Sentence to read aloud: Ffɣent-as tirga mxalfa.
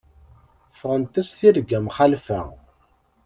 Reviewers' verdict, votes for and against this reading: accepted, 2, 0